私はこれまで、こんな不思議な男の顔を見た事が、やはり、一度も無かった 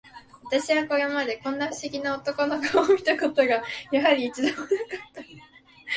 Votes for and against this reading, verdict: 0, 2, rejected